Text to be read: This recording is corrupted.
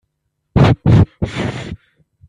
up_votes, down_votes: 0, 2